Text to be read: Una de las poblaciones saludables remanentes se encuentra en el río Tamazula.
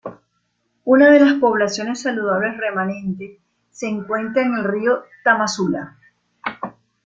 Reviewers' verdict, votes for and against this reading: accepted, 2, 0